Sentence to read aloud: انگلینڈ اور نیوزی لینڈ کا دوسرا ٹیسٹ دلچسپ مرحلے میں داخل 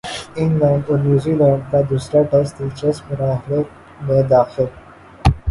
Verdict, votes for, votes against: rejected, 2, 3